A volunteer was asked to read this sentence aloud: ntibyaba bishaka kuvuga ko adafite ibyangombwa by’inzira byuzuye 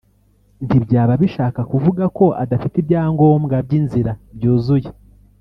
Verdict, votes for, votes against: rejected, 1, 2